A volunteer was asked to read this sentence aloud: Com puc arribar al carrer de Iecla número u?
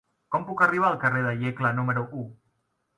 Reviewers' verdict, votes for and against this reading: accepted, 2, 0